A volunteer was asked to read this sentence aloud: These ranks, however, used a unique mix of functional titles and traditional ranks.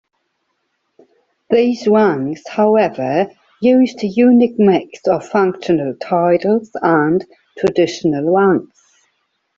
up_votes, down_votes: 2, 1